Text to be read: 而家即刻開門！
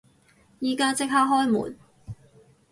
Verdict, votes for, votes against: rejected, 2, 4